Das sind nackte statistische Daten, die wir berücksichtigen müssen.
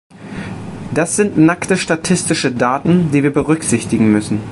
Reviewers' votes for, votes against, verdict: 2, 0, accepted